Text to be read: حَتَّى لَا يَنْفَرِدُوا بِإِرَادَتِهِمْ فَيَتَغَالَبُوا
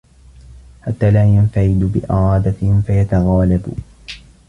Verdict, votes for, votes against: accepted, 2, 0